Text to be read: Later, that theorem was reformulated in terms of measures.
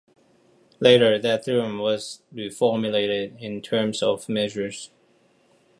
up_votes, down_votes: 2, 0